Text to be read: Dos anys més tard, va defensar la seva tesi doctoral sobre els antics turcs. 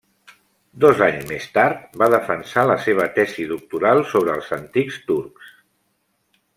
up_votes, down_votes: 3, 0